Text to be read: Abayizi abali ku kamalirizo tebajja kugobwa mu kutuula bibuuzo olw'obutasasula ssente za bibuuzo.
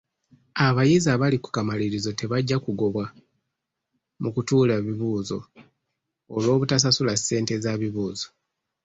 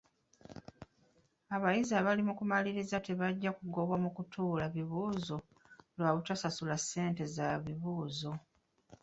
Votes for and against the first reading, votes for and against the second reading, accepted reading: 2, 0, 1, 2, first